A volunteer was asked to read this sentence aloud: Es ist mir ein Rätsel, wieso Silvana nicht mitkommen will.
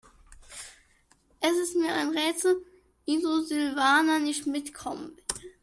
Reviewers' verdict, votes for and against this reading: rejected, 0, 2